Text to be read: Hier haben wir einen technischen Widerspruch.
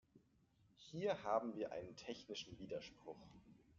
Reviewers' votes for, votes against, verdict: 1, 2, rejected